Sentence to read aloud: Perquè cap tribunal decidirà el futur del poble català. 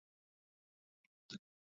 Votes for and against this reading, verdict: 0, 2, rejected